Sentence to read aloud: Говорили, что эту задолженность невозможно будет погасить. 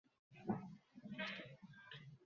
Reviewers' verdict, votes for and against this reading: rejected, 0, 2